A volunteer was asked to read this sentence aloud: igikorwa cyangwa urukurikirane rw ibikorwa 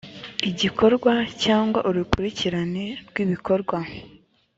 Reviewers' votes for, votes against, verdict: 2, 0, accepted